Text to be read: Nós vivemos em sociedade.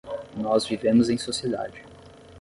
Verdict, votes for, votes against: accepted, 5, 0